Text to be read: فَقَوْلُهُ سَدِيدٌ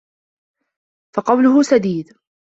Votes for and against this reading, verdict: 2, 0, accepted